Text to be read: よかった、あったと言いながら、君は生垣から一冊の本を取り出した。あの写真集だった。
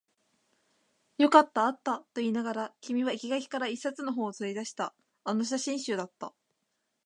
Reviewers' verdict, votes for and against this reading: accepted, 3, 1